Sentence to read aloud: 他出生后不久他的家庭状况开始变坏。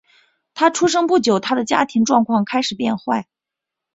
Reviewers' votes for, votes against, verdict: 0, 2, rejected